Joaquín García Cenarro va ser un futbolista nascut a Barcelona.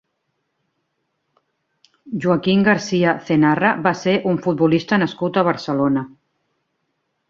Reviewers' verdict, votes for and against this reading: rejected, 1, 2